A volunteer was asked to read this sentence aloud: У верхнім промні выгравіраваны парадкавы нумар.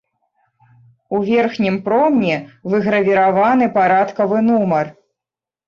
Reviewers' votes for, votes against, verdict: 2, 0, accepted